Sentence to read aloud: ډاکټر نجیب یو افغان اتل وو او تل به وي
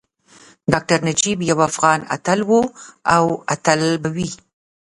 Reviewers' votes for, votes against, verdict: 1, 2, rejected